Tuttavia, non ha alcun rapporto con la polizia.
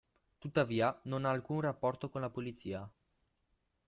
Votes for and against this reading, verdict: 2, 1, accepted